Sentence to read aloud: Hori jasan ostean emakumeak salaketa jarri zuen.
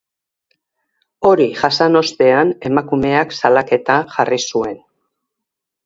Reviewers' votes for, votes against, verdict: 2, 0, accepted